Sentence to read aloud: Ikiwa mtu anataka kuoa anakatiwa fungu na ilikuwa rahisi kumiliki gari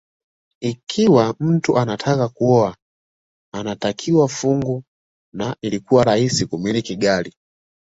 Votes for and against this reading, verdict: 2, 1, accepted